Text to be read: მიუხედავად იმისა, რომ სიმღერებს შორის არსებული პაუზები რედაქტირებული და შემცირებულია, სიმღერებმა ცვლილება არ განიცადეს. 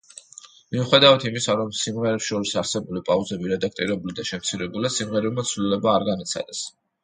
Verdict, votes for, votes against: accepted, 2, 0